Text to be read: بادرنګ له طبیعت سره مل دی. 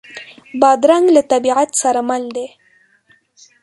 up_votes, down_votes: 2, 0